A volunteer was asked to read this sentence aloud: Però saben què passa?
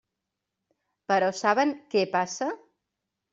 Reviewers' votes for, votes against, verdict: 3, 0, accepted